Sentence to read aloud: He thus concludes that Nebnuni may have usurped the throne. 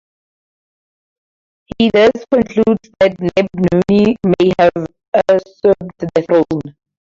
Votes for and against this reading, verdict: 2, 4, rejected